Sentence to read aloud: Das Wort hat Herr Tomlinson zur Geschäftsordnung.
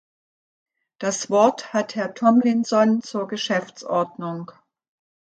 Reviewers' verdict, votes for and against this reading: accepted, 3, 0